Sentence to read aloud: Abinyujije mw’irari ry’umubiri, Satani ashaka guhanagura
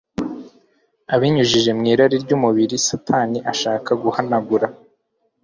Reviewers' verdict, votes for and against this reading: accepted, 2, 0